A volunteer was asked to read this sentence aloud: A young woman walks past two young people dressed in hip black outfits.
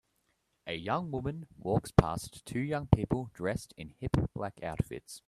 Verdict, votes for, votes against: accepted, 2, 0